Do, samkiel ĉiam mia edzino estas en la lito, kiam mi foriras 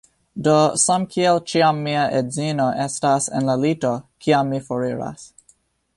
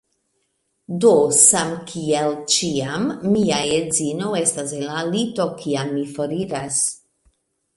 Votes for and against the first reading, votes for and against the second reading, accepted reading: 3, 1, 1, 2, first